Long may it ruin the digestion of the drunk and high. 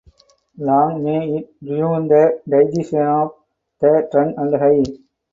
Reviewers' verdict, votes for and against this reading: rejected, 2, 2